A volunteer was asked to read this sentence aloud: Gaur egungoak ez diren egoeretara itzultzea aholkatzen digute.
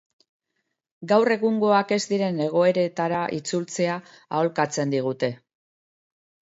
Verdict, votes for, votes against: accepted, 2, 0